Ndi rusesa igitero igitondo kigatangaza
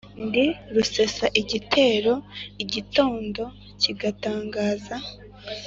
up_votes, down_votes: 2, 0